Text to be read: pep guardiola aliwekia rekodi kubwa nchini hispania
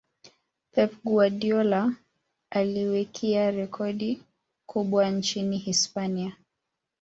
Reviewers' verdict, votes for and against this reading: accepted, 2, 0